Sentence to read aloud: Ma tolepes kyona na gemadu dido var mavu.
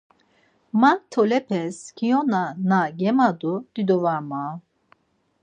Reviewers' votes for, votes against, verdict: 4, 0, accepted